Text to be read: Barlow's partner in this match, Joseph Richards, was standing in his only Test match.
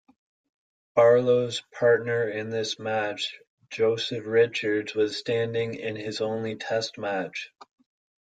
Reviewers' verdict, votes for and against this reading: accepted, 2, 0